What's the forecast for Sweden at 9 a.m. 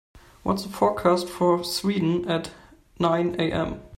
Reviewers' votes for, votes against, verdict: 0, 2, rejected